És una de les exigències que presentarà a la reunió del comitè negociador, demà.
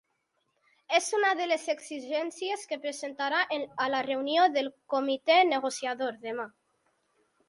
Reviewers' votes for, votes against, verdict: 0, 2, rejected